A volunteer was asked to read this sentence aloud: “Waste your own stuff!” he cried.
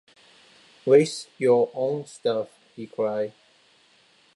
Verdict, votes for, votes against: accepted, 2, 0